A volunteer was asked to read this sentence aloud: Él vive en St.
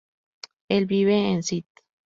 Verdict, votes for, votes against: rejected, 0, 4